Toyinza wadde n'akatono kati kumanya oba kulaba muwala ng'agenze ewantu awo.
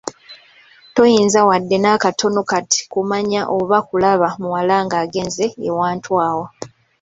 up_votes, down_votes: 2, 0